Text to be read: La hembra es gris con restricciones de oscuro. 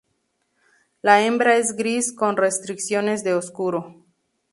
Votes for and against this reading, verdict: 2, 0, accepted